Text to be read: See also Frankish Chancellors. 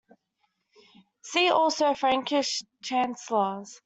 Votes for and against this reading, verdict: 2, 0, accepted